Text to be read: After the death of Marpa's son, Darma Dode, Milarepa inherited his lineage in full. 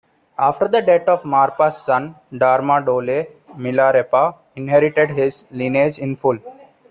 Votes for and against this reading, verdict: 1, 2, rejected